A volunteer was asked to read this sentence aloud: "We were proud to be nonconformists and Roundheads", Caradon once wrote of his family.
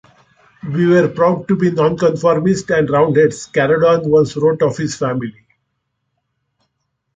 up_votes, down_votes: 2, 0